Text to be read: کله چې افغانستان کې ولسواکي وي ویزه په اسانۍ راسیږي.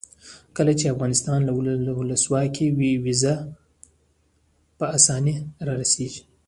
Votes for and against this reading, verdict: 1, 2, rejected